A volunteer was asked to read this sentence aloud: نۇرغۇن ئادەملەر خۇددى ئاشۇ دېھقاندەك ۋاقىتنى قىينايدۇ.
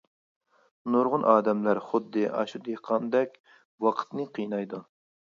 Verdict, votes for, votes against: accepted, 2, 0